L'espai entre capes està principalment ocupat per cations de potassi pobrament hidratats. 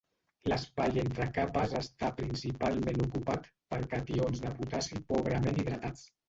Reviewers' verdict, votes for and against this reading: rejected, 1, 2